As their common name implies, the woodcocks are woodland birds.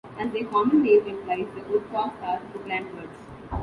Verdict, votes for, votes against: rejected, 1, 2